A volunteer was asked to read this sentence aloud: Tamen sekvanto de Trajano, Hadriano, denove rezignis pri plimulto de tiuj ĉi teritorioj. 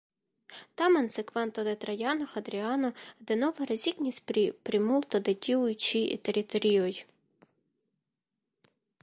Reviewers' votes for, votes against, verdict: 2, 0, accepted